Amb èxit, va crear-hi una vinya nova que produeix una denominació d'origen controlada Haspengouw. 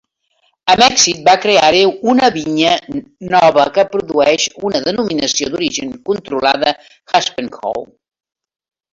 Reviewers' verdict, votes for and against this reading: rejected, 0, 2